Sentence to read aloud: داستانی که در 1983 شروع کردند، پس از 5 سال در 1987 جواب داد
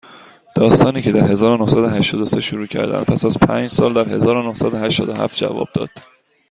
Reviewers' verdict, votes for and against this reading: rejected, 0, 2